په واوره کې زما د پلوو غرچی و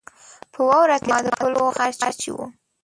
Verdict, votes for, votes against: rejected, 0, 2